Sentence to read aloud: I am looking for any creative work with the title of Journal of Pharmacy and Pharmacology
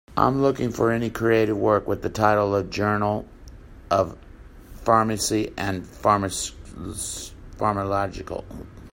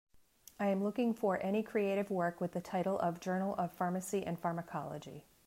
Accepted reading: second